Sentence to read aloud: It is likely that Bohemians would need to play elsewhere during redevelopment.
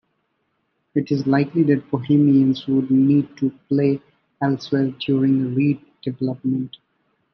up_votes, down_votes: 2, 0